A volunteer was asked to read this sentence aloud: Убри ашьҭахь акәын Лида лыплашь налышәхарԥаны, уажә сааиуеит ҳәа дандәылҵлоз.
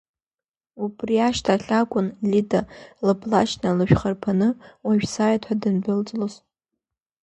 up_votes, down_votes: 2, 0